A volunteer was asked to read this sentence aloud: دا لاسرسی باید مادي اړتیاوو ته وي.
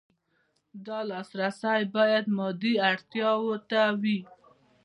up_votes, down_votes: 1, 2